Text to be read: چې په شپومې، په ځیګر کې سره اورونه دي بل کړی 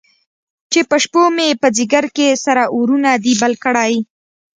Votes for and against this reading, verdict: 2, 0, accepted